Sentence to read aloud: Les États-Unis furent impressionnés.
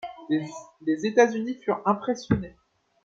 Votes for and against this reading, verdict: 0, 2, rejected